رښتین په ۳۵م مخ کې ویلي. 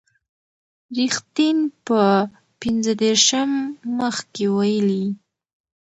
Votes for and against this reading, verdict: 0, 2, rejected